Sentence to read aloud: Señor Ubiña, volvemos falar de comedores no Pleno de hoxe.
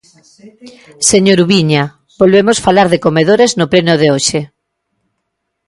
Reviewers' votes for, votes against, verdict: 0, 2, rejected